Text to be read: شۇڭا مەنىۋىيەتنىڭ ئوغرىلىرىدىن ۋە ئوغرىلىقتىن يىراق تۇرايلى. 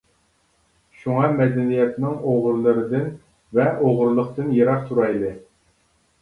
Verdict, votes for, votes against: rejected, 0, 2